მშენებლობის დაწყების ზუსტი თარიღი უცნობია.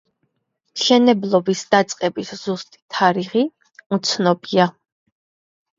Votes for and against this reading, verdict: 2, 0, accepted